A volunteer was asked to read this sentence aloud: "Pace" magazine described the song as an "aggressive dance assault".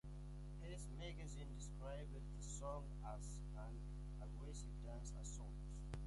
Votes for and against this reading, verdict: 1, 2, rejected